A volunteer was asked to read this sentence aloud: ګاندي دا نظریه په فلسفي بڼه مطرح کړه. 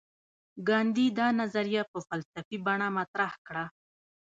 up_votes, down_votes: 0, 2